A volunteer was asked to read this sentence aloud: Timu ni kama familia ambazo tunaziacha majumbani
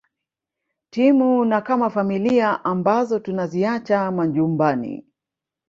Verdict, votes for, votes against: rejected, 0, 2